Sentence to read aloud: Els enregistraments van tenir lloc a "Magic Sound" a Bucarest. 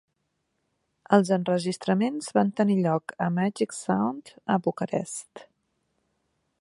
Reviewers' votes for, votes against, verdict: 3, 0, accepted